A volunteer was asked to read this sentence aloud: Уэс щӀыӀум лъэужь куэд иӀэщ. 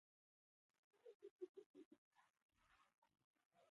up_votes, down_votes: 0, 4